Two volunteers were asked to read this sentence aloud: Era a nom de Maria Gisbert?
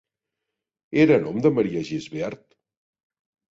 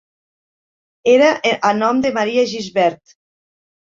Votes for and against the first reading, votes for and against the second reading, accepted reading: 2, 0, 0, 2, first